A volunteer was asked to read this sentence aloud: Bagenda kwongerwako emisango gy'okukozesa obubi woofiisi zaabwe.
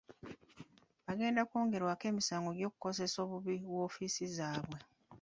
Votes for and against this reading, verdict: 2, 1, accepted